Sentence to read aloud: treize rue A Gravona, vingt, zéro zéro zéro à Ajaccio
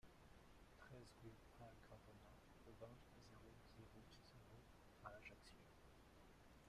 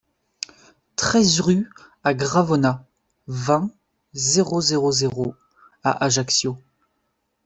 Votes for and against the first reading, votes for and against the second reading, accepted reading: 1, 2, 2, 0, second